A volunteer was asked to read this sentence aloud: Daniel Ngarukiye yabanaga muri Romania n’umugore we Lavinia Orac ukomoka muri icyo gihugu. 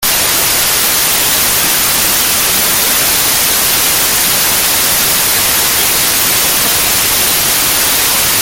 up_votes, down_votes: 0, 2